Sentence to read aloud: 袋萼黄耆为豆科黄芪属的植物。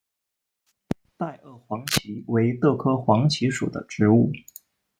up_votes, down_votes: 2, 0